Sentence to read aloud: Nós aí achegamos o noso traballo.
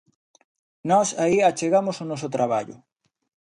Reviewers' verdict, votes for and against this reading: accepted, 2, 0